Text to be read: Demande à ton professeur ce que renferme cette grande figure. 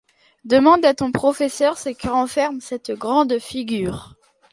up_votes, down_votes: 2, 0